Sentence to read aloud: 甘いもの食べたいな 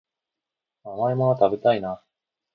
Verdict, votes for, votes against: accepted, 2, 0